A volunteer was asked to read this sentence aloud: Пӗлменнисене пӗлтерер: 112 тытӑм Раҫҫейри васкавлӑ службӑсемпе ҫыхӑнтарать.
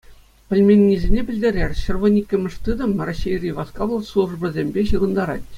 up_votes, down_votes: 0, 2